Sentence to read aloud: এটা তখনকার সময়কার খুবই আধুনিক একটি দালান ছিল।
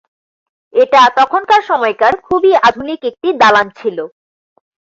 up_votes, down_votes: 2, 0